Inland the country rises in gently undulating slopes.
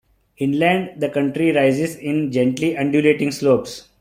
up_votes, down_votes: 2, 0